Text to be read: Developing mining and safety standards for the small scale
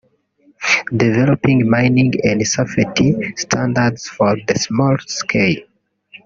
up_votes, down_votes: 1, 3